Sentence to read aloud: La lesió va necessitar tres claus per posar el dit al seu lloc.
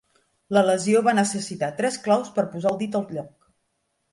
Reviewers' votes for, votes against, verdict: 0, 2, rejected